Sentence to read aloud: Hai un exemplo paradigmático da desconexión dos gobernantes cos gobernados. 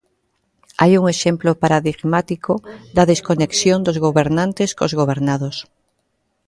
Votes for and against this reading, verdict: 2, 0, accepted